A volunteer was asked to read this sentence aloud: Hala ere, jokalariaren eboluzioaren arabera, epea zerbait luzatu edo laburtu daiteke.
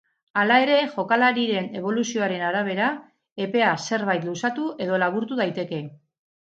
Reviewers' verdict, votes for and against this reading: rejected, 0, 2